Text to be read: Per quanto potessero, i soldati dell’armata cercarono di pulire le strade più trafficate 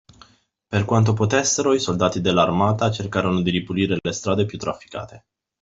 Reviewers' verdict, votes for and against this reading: rejected, 0, 2